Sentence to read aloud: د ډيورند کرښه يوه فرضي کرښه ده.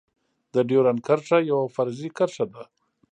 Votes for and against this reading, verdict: 2, 1, accepted